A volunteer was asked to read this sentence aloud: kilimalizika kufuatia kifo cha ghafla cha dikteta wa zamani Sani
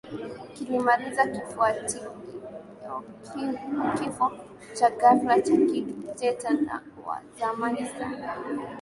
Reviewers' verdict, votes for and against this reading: rejected, 0, 2